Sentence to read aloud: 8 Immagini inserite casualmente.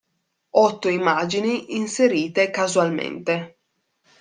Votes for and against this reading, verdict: 0, 2, rejected